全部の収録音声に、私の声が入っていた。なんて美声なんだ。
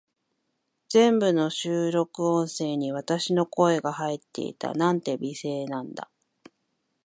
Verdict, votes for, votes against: accepted, 2, 0